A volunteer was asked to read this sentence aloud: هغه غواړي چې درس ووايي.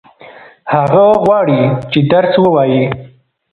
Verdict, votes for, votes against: accepted, 3, 0